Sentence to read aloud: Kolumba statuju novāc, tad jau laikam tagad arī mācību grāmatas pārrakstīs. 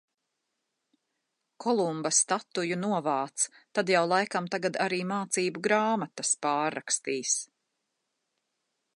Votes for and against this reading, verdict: 2, 0, accepted